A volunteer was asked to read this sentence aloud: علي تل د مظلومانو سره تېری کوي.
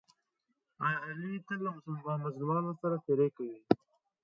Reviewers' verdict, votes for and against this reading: rejected, 1, 2